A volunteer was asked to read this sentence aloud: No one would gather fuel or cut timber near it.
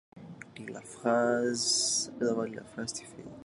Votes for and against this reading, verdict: 0, 2, rejected